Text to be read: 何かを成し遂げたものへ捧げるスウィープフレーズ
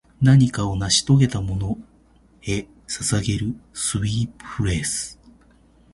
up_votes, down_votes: 2, 0